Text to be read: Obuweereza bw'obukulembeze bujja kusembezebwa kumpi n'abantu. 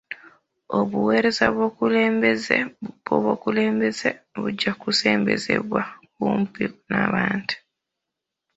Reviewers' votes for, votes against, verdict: 0, 2, rejected